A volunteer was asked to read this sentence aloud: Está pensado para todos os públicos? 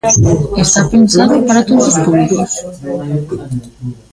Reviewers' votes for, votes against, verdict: 0, 2, rejected